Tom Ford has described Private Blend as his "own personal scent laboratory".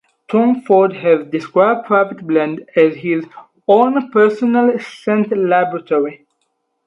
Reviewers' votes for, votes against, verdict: 2, 2, rejected